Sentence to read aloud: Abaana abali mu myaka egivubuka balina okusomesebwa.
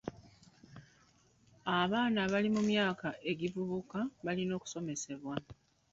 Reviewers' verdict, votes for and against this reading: rejected, 1, 2